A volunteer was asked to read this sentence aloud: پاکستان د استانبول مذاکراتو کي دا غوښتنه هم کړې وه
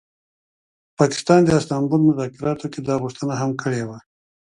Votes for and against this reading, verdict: 2, 0, accepted